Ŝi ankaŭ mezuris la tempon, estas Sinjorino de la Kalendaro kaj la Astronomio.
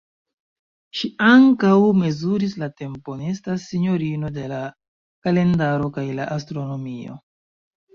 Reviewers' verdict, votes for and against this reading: accepted, 2, 0